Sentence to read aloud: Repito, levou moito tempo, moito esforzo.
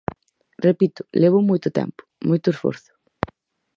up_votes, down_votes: 4, 0